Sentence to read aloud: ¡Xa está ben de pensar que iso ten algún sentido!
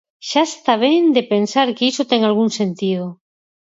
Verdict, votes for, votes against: rejected, 0, 4